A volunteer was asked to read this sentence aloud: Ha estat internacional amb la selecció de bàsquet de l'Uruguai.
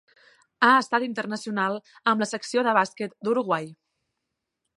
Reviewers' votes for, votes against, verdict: 1, 2, rejected